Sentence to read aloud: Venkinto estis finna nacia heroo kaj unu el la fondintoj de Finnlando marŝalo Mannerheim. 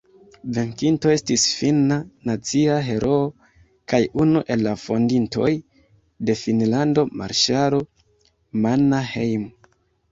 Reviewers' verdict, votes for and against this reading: rejected, 0, 2